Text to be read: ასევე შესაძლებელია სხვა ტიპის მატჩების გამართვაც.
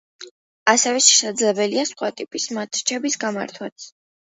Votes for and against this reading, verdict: 2, 1, accepted